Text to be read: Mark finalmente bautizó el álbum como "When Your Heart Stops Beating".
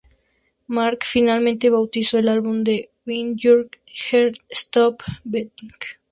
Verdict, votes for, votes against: rejected, 0, 2